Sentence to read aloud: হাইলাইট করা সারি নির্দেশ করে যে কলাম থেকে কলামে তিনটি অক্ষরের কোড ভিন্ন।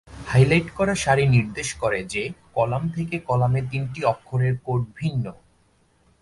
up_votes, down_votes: 4, 0